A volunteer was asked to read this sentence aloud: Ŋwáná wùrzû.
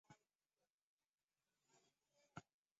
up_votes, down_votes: 0, 2